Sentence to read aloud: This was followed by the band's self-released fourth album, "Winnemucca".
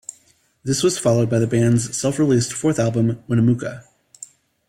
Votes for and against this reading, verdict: 2, 0, accepted